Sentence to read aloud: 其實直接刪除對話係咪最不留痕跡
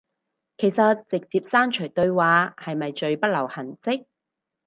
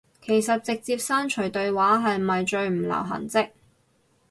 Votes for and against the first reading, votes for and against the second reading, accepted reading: 4, 0, 0, 2, first